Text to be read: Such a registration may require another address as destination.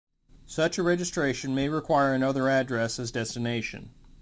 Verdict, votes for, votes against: accepted, 2, 0